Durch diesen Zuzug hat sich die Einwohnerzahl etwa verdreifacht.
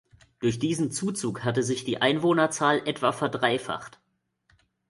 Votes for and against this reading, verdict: 0, 2, rejected